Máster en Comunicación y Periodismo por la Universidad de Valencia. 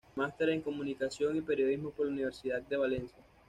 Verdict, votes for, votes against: accepted, 2, 0